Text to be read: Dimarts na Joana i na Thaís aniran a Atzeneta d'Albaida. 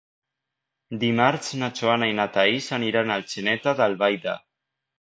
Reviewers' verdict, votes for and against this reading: accepted, 2, 0